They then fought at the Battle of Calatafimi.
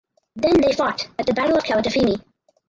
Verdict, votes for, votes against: rejected, 0, 4